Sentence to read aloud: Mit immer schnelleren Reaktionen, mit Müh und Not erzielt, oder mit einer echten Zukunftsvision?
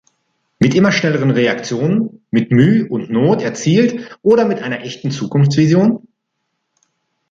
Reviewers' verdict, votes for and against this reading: accepted, 2, 0